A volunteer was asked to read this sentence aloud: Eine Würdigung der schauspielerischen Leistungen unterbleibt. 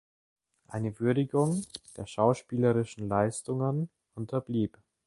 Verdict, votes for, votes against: rejected, 0, 2